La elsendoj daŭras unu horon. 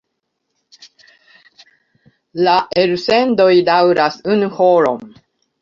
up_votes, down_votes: 1, 2